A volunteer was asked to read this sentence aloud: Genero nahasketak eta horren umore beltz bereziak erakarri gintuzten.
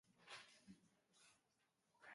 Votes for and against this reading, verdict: 0, 3, rejected